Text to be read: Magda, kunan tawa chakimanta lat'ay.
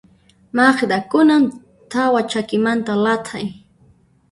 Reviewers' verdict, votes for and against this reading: rejected, 1, 2